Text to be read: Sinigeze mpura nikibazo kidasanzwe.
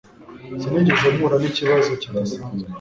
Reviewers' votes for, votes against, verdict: 2, 0, accepted